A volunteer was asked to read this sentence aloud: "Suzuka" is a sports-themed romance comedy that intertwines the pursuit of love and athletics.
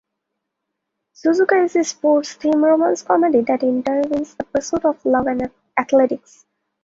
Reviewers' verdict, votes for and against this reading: accepted, 2, 0